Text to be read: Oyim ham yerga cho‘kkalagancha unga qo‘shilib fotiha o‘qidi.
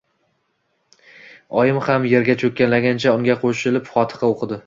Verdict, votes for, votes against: accepted, 2, 0